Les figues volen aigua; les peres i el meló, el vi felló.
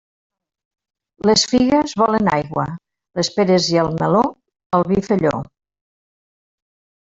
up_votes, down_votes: 2, 0